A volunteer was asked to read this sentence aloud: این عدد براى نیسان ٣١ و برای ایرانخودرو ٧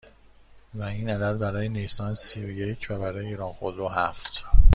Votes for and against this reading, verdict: 0, 2, rejected